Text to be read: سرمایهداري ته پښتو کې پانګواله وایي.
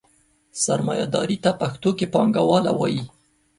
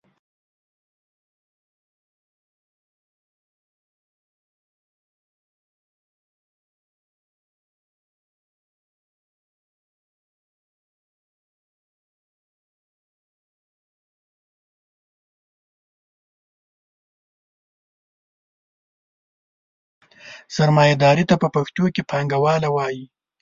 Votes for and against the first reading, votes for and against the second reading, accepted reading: 2, 0, 0, 2, first